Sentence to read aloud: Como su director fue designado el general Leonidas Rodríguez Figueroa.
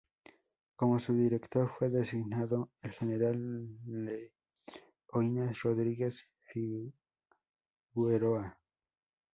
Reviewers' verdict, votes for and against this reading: rejected, 0, 4